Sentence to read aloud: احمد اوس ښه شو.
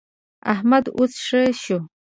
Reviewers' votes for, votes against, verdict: 2, 0, accepted